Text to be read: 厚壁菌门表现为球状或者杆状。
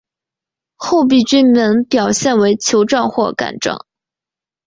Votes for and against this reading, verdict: 2, 0, accepted